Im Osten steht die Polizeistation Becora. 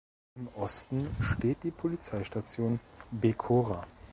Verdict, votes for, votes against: accepted, 2, 0